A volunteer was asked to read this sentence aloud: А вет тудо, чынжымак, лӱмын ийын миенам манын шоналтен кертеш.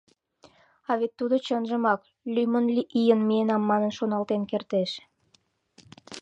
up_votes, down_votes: 1, 2